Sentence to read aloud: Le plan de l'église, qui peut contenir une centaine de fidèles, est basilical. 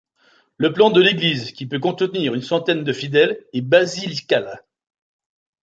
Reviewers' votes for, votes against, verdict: 1, 2, rejected